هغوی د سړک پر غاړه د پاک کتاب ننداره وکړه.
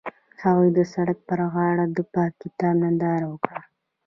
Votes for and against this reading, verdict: 0, 2, rejected